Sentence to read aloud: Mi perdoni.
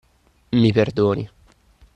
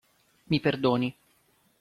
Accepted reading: second